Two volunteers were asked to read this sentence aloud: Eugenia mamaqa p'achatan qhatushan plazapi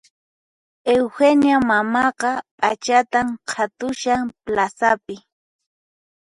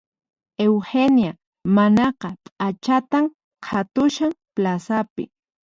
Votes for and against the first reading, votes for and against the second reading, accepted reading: 4, 0, 2, 4, first